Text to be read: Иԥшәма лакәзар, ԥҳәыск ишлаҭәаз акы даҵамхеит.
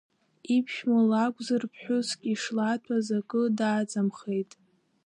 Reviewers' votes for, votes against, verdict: 2, 1, accepted